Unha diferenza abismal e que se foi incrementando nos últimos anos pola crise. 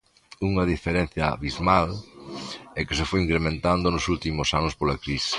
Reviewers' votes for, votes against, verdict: 1, 2, rejected